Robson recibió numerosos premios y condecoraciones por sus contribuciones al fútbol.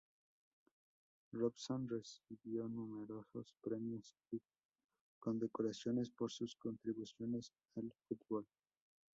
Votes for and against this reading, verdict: 0, 4, rejected